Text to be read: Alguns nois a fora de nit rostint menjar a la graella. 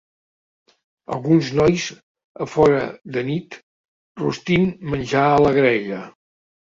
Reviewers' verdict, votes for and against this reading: accepted, 2, 0